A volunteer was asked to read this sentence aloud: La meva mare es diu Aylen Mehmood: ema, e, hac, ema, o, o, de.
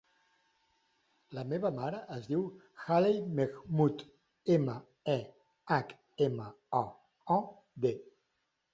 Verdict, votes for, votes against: rejected, 0, 2